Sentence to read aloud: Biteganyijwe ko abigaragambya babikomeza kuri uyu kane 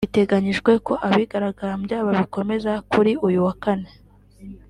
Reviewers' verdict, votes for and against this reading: accepted, 3, 0